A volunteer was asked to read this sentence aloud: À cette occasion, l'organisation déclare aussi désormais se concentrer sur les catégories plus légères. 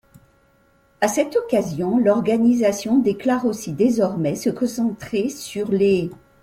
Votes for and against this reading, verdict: 0, 2, rejected